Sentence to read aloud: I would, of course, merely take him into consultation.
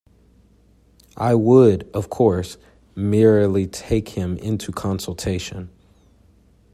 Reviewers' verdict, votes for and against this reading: accepted, 2, 0